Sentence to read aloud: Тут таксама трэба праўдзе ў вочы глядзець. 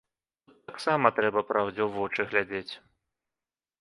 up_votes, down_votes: 0, 2